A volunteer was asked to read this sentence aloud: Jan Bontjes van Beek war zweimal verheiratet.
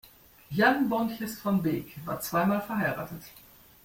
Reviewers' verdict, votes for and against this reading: rejected, 1, 2